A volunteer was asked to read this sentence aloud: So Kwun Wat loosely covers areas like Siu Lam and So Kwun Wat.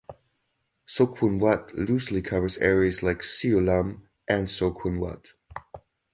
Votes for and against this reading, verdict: 2, 0, accepted